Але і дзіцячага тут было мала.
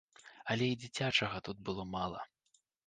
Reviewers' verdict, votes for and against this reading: accepted, 2, 0